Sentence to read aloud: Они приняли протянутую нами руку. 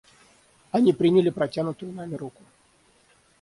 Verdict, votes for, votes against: rejected, 3, 6